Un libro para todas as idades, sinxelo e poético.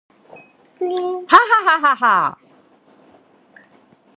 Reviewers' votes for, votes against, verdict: 0, 2, rejected